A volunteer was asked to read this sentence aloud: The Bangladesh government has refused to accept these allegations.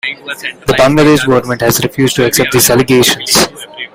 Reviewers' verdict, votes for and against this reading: rejected, 1, 2